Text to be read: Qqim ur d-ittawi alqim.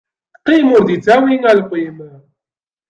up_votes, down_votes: 2, 0